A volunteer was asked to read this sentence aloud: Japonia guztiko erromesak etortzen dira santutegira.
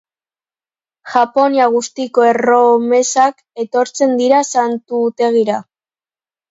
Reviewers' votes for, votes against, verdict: 3, 0, accepted